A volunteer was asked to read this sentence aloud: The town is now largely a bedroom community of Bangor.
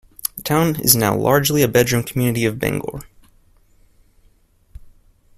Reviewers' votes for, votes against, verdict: 0, 2, rejected